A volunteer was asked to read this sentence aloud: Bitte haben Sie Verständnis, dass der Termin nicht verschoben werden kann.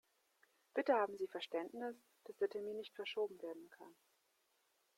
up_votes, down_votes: 2, 0